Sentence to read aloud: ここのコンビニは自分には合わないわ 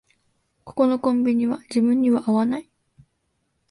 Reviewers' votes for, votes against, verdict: 1, 2, rejected